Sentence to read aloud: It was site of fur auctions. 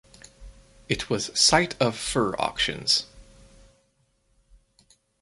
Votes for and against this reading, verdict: 4, 0, accepted